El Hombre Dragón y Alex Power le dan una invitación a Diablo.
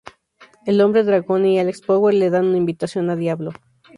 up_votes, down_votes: 4, 0